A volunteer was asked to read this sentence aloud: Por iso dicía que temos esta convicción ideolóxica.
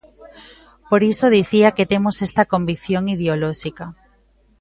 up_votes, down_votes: 2, 0